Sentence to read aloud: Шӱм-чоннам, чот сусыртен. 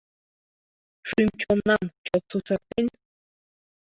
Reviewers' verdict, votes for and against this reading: accepted, 2, 1